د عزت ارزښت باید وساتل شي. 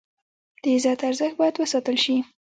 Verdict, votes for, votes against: accepted, 2, 0